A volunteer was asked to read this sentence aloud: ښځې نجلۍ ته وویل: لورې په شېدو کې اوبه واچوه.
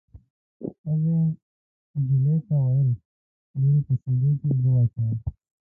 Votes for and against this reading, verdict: 2, 5, rejected